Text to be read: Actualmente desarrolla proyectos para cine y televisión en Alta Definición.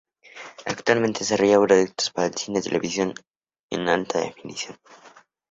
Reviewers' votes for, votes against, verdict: 2, 0, accepted